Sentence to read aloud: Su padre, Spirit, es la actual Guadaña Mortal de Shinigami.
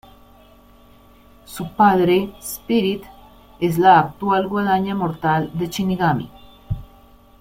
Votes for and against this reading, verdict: 2, 1, accepted